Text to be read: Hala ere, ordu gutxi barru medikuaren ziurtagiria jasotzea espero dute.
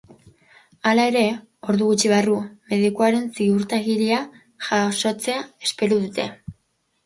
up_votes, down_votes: 2, 0